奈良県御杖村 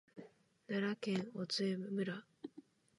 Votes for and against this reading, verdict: 0, 2, rejected